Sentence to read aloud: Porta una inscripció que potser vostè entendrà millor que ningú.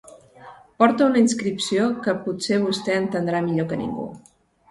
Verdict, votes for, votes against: accepted, 2, 0